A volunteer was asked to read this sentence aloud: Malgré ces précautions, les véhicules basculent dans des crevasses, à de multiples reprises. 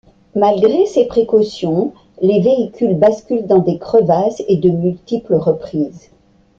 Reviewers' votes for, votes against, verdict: 0, 2, rejected